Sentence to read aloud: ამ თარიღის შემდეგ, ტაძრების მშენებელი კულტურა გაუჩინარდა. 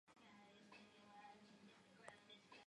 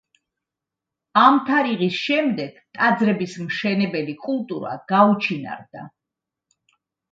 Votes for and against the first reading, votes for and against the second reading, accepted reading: 0, 2, 2, 0, second